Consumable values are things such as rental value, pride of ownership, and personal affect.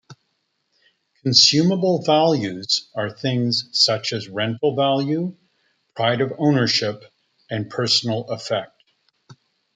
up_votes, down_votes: 0, 2